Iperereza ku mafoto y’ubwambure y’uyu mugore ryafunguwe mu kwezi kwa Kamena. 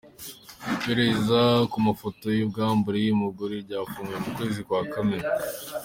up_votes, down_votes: 2, 0